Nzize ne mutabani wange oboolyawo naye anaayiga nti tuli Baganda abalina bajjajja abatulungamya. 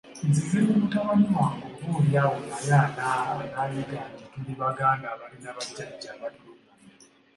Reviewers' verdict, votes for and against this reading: accepted, 3, 1